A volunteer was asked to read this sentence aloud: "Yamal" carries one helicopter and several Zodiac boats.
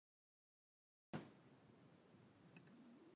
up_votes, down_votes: 0, 2